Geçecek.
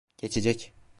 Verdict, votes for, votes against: accepted, 2, 0